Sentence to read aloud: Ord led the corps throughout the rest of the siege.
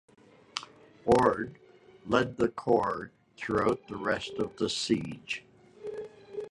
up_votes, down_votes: 2, 0